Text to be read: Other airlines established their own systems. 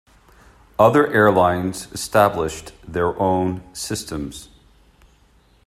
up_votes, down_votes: 2, 0